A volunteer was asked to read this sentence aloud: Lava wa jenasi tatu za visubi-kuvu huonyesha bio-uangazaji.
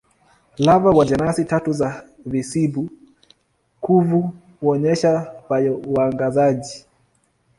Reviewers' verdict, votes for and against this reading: rejected, 1, 2